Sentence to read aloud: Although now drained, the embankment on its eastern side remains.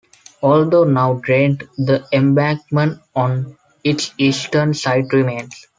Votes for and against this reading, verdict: 3, 0, accepted